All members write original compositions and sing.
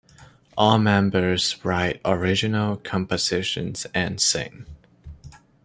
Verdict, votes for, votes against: accepted, 2, 0